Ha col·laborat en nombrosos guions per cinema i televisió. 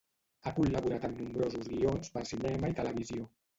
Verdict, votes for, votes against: rejected, 1, 2